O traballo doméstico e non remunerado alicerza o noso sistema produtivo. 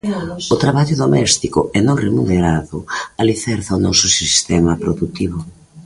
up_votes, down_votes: 2, 0